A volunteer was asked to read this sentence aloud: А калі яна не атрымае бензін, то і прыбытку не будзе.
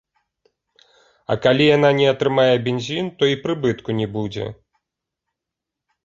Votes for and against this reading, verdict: 2, 0, accepted